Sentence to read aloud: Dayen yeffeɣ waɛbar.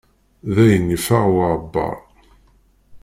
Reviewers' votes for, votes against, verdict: 1, 2, rejected